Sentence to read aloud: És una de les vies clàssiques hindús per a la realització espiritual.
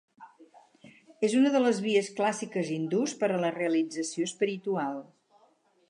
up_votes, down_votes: 4, 0